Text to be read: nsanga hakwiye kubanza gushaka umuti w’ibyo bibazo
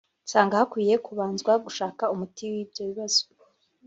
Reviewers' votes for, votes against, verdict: 1, 2, rejected